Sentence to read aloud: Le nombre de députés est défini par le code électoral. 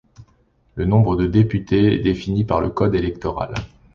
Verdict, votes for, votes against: accepted, 2, 0